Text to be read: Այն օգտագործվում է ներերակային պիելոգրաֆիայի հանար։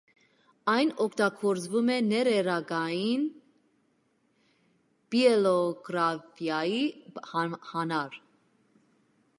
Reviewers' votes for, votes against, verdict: 0, 2, rejected